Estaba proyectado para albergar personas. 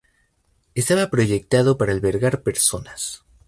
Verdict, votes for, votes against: accepted, 2, 0